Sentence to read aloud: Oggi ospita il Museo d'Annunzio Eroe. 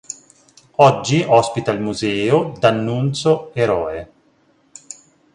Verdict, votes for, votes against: rejected, 1, 2